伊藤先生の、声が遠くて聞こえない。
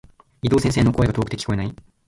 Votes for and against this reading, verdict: 1, 2, rejected